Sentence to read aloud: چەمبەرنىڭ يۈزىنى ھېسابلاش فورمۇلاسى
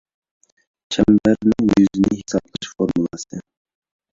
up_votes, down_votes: 1, 2